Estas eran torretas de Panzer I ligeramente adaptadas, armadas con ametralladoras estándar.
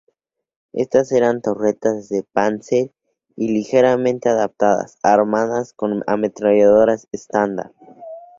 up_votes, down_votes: 2, 0